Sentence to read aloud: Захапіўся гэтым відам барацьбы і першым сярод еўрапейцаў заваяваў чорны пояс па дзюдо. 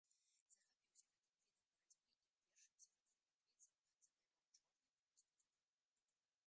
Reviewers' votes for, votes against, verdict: 0, 2, rejected